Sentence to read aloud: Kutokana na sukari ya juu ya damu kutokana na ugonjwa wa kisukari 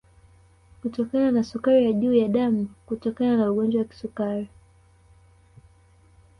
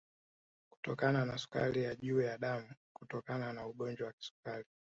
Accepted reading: first